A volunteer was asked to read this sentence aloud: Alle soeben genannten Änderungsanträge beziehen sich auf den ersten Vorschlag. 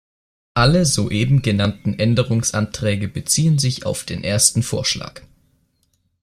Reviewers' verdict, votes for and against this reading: accepted, 2, 0